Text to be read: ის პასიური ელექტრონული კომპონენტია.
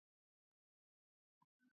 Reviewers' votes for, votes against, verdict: 0, 2, rejected